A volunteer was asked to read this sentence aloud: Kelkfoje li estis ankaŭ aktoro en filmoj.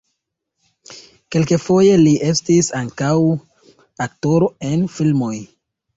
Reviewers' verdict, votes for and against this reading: accepted, 2, 0